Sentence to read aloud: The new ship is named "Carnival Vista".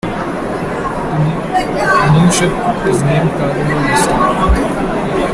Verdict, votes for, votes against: rejected, 0, 3